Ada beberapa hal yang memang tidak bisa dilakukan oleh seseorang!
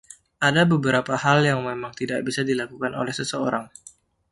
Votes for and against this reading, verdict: 2, 0, accepted